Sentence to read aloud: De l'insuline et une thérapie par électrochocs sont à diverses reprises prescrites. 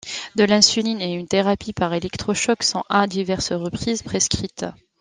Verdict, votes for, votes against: accepted, 2, 0